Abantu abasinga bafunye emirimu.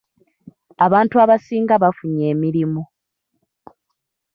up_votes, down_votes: 2, 0